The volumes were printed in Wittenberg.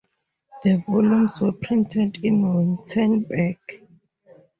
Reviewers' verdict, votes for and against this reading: rejected, 0, 2